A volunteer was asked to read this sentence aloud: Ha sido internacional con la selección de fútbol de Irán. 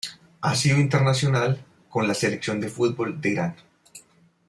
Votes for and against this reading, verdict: 2, 0, accepted